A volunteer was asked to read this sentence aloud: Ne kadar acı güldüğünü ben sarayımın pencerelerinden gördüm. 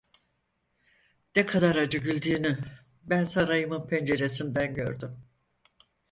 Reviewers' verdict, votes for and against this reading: rejected, 0, 4